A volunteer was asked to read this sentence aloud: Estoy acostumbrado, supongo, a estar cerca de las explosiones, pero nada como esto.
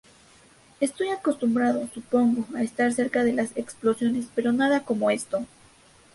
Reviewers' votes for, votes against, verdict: 0, 2, rejected